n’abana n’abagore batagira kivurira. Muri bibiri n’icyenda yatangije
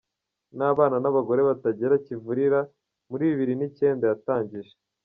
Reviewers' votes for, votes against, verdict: 1, 2, rejected